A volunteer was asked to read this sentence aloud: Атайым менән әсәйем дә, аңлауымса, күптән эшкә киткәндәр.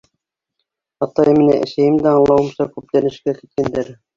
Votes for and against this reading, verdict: 2, 0, accepted